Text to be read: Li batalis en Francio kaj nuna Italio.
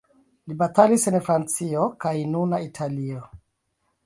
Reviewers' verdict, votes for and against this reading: rejected, 1, 2